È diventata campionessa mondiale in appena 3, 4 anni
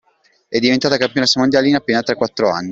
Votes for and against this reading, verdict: 0, 2, rejected